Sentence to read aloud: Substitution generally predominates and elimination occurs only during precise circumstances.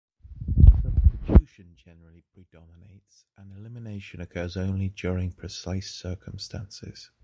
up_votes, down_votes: 0, 2